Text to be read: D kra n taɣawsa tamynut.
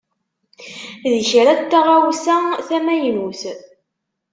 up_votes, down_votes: 2, 0